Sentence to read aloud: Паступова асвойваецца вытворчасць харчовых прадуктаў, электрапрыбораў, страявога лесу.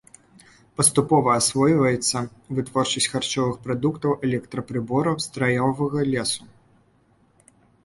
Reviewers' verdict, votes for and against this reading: rejected, 1, 2